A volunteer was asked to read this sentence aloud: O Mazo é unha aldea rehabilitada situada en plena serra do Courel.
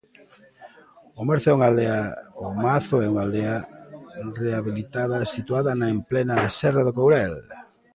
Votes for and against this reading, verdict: 0, 2, rejected